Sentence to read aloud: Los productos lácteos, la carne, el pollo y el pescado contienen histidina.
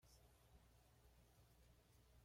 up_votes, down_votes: 1, 2